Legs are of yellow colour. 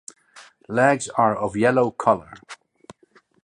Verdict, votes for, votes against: accepted, 2, 0